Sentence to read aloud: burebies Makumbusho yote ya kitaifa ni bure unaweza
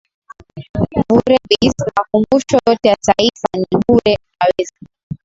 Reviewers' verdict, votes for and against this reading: rejected, 0, 2